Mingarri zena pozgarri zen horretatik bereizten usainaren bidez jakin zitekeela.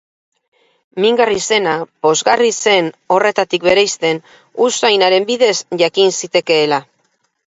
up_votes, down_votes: 2, 0